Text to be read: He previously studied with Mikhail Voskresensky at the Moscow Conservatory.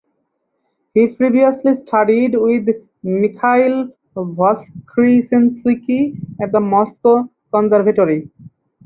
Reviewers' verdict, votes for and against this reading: accepted, 4, 0